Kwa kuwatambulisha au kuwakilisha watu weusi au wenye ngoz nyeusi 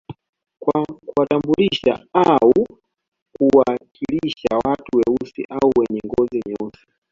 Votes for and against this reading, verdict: 2, 1, accepted